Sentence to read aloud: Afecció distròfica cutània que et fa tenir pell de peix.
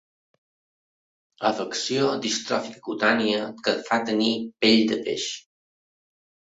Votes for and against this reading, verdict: 2, 0, accepted